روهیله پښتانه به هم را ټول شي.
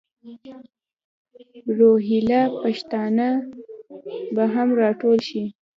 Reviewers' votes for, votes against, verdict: 1, 2, rejected